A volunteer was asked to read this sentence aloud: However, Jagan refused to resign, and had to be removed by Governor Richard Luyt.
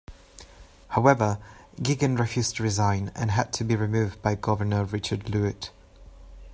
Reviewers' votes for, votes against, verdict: 2, 0, accepted